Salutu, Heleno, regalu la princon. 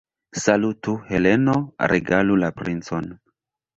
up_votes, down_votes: 1, 2